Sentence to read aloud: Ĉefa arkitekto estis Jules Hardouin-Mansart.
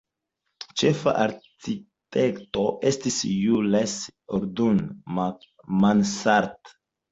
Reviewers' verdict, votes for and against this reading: accepted, 2, 0